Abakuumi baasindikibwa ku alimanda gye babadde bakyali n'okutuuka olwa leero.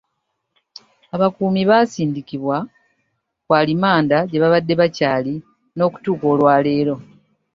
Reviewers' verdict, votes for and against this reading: accepted, 3, 0